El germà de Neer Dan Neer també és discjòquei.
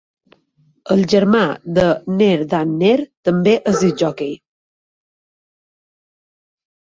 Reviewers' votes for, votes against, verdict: 3, 0, accepted